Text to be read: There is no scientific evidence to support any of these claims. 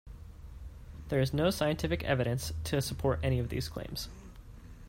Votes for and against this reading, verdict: 3, 0, accepted